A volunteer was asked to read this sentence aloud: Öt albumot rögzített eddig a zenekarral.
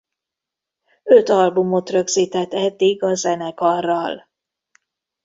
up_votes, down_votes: 2, 1